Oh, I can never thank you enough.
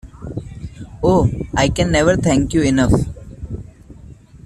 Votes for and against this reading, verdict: 2, 0, accepted